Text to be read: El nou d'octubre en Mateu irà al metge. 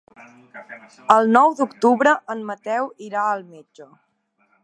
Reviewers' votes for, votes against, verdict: 4, 0, accepted